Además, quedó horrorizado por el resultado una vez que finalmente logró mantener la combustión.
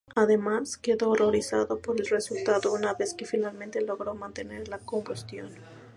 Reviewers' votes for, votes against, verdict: 2, 0, accepted